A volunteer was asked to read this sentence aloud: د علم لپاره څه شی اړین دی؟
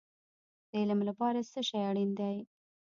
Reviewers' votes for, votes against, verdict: 0, 2, rejected